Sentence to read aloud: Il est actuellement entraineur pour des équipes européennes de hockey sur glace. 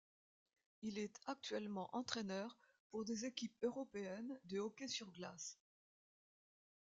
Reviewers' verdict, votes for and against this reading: rejected, 1, 2